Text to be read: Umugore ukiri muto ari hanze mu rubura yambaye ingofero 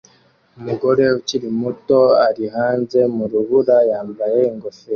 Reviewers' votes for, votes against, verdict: 2, 1, accepted